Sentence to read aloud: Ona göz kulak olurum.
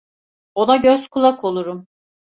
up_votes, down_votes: 2, 0